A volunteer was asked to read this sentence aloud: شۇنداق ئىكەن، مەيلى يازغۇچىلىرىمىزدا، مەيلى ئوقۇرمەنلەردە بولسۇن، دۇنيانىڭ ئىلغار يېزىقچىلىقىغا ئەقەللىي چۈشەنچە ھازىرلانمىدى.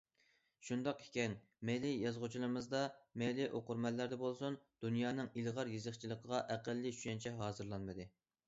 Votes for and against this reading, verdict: 2, 0, accepted